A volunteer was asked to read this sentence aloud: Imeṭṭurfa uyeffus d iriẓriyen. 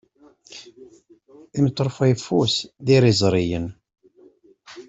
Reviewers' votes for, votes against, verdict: 2, 0, accepted